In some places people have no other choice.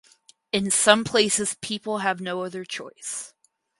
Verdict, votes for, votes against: accepted, 4, 0